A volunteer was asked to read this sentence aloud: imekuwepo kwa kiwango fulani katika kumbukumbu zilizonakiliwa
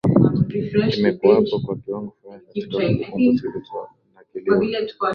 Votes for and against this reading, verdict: 0, 2, rejected